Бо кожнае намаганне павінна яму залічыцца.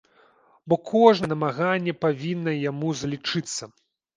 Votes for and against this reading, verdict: 1, 2, rejected